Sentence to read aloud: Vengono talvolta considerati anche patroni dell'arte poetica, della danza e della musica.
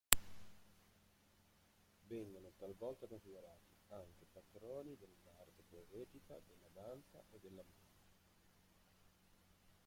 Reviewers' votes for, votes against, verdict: 0, 2, rejected